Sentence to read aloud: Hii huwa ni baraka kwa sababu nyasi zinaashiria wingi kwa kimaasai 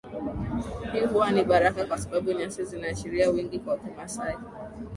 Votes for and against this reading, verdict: 0, 2, rejected